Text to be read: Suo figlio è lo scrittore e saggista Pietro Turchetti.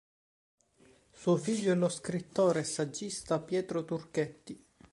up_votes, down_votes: 3, 0